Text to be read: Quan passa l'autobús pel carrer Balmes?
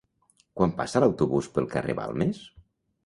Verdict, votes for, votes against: accepted, 2, 0